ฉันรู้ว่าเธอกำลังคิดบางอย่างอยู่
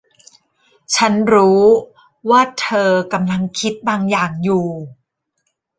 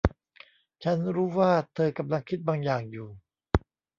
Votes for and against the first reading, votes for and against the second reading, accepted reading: 2, 0, 0, 2, first